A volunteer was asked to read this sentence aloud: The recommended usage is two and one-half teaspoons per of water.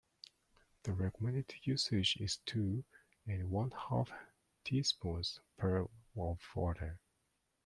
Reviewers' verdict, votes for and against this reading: accepted, 2, 0